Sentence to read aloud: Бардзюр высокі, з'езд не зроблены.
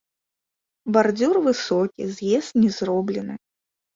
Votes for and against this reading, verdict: 2, 0, accepted